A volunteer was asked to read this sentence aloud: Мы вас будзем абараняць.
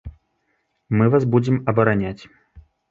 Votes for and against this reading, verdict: 2, 0, accepted